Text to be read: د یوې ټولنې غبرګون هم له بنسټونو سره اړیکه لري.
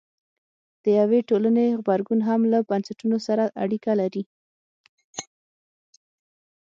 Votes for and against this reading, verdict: 6, 0, accepted